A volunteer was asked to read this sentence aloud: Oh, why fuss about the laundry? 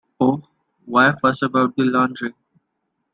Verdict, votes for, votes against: accepted, 2, 0